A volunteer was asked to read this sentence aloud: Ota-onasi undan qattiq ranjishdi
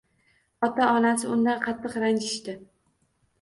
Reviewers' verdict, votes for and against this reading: accepted, 2, 0